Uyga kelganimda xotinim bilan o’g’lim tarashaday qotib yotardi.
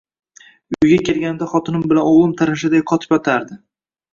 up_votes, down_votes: 2, 0